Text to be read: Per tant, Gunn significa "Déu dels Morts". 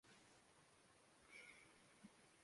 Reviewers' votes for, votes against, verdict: 0, 2, rejected